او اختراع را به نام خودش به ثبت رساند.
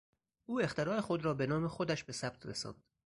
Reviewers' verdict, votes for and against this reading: rejected, 2, 2